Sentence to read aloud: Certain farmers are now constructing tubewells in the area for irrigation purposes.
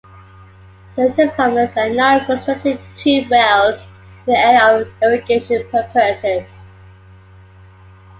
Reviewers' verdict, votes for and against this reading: accepted, 2, 0